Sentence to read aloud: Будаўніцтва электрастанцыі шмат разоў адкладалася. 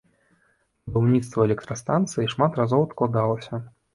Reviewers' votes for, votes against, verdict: 0, 2, rejected